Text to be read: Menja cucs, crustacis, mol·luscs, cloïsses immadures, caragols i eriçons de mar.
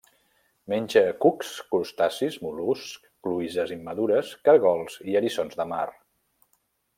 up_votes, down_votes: 2, 0